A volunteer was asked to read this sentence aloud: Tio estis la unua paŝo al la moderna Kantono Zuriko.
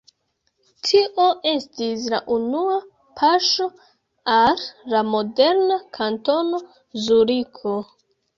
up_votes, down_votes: 1, 2